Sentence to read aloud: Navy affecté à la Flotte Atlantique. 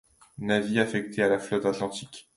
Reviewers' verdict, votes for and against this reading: accepted, 2, 0